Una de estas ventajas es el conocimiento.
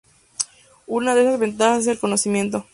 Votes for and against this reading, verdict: 2, 0, accepted